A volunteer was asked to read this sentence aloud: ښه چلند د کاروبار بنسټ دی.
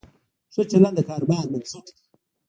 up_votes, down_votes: 1, 2